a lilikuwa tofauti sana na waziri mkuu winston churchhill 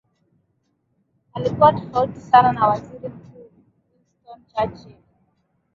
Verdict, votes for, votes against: rejected, 1, 2